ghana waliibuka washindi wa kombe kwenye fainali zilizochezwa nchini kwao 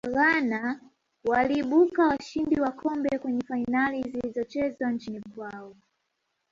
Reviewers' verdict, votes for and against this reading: accepted, 2, 0